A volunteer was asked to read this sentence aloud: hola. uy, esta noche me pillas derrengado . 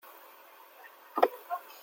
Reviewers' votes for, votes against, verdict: 0, 2, rejected